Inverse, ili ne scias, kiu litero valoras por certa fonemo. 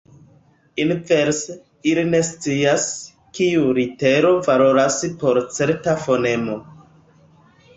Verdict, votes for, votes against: rejected, 1, 2